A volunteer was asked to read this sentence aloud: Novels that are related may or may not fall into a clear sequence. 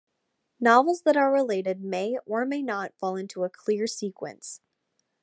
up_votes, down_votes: 2, 0